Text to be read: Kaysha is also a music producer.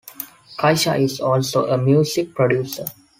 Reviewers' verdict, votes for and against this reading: accepted, 2, 0